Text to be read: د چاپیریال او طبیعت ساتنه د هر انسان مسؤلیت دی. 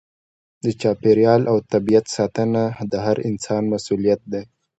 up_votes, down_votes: 2, 0